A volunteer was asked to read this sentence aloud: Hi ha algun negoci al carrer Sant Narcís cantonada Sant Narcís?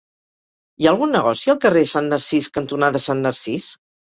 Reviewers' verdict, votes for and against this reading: accepted, 4, 0